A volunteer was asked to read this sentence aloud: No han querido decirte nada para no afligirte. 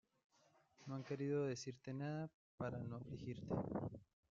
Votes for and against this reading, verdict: 0, 2, rejected